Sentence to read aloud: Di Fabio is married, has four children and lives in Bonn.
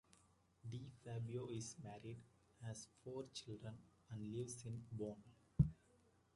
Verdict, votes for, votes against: rejected, 1, 2